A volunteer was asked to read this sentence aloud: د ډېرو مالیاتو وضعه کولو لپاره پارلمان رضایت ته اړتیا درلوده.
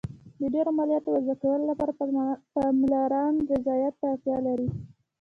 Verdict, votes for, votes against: rejected, 0, 2